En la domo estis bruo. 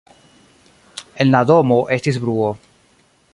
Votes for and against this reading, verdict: 0, 2, rejected